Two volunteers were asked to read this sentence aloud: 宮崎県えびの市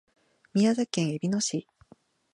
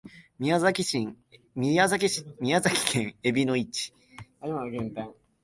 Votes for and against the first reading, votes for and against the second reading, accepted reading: 2, 0, 1, 2, first